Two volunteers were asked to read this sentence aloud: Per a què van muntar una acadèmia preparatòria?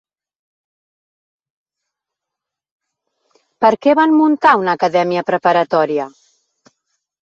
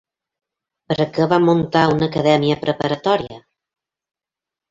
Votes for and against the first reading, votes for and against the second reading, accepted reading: 1, 2, 3, 0, second